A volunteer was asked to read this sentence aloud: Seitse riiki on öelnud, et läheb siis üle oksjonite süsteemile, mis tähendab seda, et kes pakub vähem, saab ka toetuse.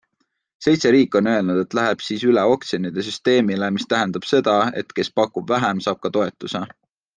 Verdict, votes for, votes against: accepted, 2, 0